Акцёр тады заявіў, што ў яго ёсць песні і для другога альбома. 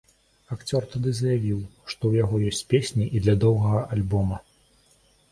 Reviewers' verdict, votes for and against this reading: rejected, 0, 2